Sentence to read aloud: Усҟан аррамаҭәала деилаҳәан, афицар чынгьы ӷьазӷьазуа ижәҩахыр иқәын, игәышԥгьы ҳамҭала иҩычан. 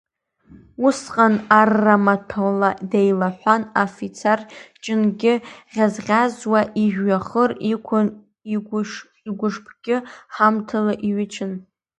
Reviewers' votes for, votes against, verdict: 0, 2, rejected